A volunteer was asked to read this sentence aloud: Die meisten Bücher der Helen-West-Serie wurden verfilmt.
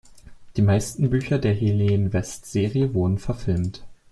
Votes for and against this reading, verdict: 2, 0, accepted